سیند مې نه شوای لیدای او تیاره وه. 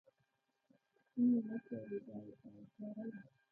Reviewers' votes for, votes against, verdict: 0, 2, rejected